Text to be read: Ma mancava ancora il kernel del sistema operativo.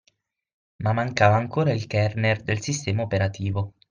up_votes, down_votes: 6, 0